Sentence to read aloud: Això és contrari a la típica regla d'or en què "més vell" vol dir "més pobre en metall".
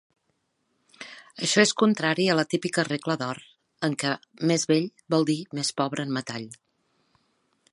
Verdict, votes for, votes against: accepted, 3, 0